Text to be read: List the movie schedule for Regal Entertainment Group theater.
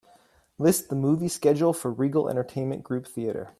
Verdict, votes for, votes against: accepted, 3, 0